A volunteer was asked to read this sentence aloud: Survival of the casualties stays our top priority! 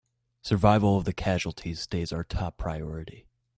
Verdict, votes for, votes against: accepted, 2, 0